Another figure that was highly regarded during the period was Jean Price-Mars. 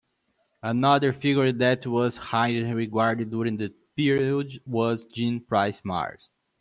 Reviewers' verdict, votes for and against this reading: rejected, 0, 2